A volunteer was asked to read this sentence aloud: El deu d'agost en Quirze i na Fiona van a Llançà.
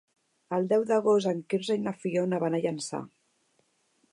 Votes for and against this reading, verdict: 3, 0, accepted